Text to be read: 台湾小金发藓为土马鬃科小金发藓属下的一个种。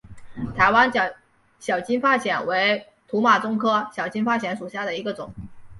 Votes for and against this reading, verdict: 2, 0, accepted